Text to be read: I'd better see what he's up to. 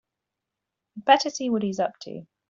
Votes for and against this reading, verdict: 0, 3, rejected